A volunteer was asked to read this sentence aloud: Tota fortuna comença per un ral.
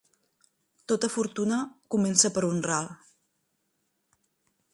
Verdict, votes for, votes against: accepted, 3, 1